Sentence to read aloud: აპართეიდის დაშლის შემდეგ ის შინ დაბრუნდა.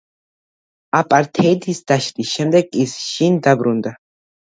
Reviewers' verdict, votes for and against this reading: accepted, 2, 0